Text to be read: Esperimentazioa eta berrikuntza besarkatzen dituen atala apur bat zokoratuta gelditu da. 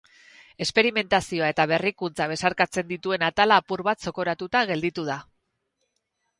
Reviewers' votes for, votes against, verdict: 0, 2, rejected